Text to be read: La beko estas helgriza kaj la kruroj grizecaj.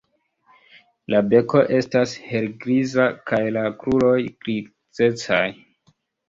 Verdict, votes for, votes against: accepted, 2, 1